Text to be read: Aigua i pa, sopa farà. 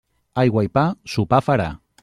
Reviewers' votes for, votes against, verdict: 0, 2, rejected